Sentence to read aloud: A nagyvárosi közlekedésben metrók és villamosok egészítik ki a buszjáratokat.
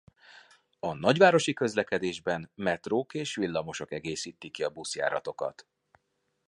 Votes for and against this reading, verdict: 2, 0, accepted